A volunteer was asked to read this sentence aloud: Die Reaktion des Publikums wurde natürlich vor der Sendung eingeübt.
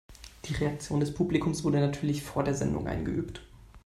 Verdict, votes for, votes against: accepted, 2, 0